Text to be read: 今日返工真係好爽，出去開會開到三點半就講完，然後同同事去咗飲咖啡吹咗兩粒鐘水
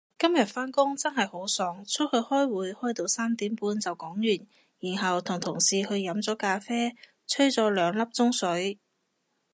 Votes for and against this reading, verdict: 0, 2, rejected